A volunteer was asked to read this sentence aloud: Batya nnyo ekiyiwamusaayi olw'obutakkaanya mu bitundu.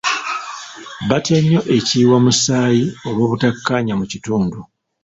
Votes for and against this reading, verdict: 1, 2, rejected